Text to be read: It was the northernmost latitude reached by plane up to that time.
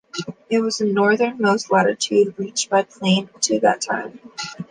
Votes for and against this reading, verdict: 0, 2, rejected